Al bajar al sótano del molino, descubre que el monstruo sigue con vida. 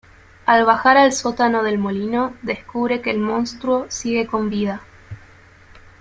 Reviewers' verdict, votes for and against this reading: accepted, 2, 0